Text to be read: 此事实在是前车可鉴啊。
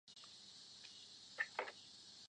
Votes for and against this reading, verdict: 1, 2, rejected